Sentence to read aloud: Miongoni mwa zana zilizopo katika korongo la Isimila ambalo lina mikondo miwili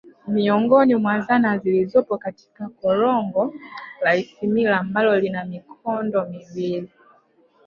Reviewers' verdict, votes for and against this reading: accepted, 2, 0